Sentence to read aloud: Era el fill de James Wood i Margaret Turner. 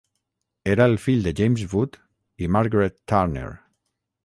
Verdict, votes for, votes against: rejected, 3, 3